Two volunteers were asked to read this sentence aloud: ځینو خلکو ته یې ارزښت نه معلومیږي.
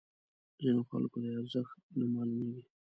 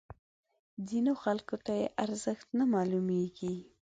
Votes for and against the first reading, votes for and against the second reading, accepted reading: 1, 2, 2, 0, second